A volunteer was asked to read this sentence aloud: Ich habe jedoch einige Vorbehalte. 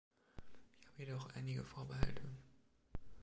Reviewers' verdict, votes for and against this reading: rejected, 0, 2